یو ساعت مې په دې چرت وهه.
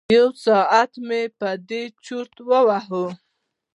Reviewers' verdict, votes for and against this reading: rejected, 2, 3